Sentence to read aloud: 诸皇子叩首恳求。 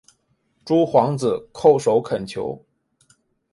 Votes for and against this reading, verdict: 2, 0, accepted